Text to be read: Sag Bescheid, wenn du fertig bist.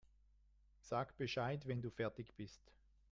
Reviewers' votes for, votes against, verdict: 0, 2, rejected